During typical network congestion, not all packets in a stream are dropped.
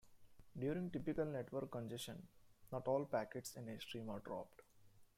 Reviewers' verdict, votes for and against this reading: rejected, 0, 2